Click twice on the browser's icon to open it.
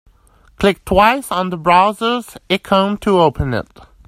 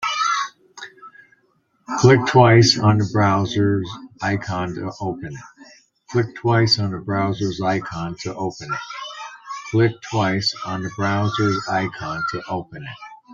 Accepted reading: first